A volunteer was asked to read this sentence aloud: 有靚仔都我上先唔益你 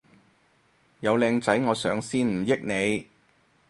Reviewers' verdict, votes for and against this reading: rejected, 0, 4